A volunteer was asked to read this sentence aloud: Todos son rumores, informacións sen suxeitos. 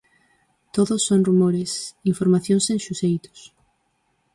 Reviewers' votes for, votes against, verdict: 4, 0, accepted